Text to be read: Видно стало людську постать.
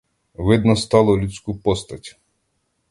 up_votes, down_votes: 2, 0